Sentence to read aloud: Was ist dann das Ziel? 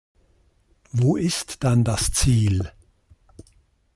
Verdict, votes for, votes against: rejected, 0, 2